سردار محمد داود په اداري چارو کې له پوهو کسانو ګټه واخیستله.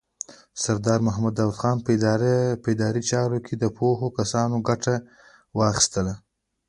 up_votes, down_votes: 1, 2